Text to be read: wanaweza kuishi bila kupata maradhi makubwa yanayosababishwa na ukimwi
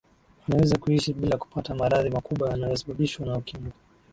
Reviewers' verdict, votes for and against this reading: rejected, 0, 2